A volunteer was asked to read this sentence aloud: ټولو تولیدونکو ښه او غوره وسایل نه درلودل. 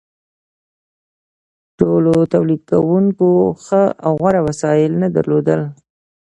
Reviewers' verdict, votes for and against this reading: accepted, 2, 0